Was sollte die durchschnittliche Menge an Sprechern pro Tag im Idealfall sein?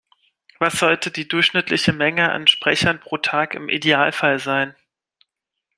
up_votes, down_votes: 2, 0